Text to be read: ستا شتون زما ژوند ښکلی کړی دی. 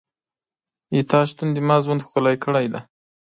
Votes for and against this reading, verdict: 1, 2, rejected